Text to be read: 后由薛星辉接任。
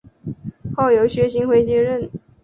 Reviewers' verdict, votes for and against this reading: accepted, 3, 0